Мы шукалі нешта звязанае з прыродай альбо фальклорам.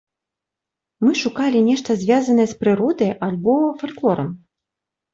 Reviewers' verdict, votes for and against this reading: accepted, 3, 0